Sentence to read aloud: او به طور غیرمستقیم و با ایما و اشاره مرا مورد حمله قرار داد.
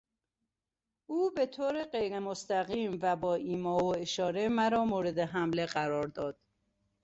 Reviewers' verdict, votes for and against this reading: accepted, 2, 0